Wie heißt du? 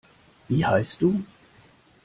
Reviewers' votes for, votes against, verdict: 2, 0, accepted